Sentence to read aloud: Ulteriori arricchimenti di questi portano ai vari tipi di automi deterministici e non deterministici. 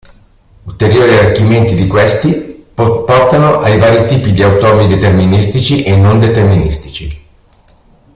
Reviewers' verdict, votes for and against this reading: rejected, 0, 2